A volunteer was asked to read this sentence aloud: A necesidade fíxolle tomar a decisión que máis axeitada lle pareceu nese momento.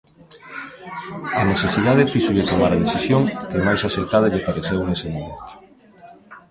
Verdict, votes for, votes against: rejected, 0, 2